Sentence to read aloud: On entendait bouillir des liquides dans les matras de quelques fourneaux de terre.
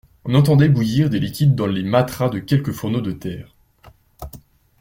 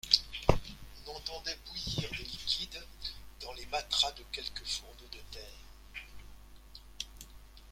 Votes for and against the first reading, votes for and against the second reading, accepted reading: 2, 0, 1, 2, first